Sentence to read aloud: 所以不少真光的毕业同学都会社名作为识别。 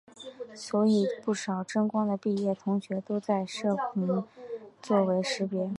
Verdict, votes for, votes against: rejected, 2, 2